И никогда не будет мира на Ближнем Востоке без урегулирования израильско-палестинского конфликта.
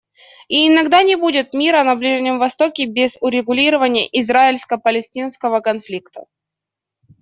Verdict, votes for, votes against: rejected, 0, 2